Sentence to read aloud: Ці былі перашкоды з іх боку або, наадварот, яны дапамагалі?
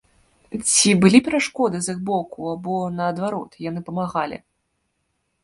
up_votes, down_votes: 0, 2